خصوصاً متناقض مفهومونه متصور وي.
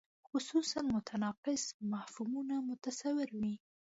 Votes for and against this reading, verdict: 3, 0, accepted